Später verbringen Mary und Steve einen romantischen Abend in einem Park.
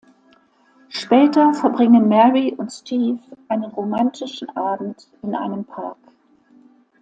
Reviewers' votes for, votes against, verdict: 2, 0, accepted